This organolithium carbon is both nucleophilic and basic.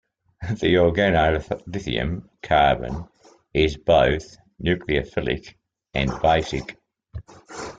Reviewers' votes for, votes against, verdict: 0, 2, rejected